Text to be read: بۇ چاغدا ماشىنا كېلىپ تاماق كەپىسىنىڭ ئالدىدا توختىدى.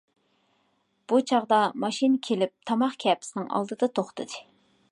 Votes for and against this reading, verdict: 2, 0, accepted